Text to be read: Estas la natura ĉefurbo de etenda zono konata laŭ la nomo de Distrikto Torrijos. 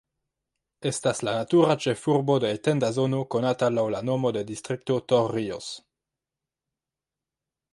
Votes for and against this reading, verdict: 3, 1, accepted